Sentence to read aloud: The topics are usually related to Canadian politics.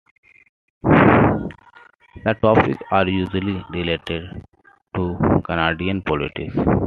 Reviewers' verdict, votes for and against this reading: accepted, 2, 1